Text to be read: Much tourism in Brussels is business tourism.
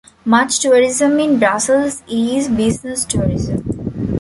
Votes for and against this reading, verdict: 2, 0, accepted